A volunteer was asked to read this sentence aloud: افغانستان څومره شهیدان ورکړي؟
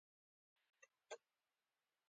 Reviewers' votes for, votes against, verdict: 2, 1, accepted